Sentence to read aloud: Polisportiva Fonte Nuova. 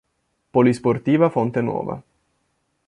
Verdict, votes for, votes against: accepted, 2, 0